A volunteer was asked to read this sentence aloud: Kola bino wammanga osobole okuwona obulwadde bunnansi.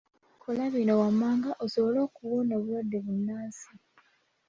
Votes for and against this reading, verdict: 2, 0, accepted